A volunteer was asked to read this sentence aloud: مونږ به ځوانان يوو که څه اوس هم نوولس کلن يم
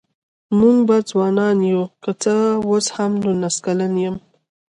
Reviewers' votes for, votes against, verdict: 0, 2, rejected